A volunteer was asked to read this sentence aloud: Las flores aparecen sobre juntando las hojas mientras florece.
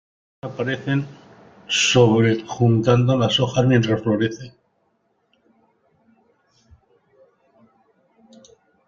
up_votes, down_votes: 0, 2